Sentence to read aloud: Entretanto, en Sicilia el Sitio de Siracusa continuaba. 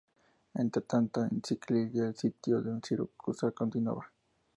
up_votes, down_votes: 2, 0